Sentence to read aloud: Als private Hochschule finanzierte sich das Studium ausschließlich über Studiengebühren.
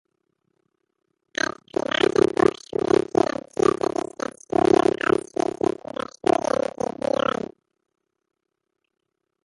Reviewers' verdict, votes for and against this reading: rejected, 0, 2